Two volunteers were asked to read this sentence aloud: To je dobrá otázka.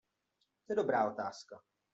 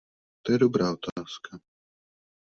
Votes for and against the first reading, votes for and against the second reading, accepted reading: 1, 2, 2, 0, second